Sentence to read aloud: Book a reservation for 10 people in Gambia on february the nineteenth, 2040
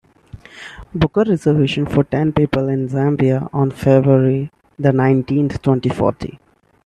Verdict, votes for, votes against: rejected, 0, 2